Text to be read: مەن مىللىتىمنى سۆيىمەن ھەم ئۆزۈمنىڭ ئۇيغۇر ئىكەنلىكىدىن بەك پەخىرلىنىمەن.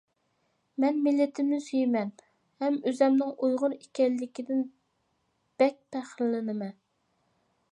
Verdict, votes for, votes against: accepted, 2, 0